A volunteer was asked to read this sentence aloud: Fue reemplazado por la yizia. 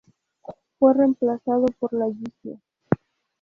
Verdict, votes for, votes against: accepted, 2, 0